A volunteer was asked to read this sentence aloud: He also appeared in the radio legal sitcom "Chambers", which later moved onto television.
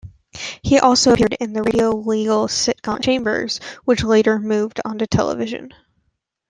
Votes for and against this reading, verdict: 0, 2, rejected